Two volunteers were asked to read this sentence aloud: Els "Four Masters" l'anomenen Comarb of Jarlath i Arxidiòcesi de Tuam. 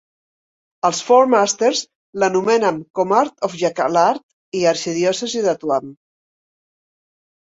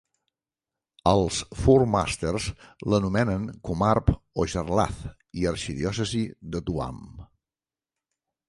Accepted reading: second